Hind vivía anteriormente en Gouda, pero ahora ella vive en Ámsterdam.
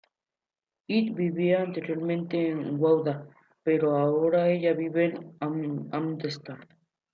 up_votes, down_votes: 0, 2